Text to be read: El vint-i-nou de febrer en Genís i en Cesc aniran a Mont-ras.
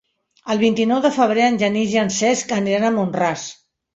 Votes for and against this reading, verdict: 3, 0, accepted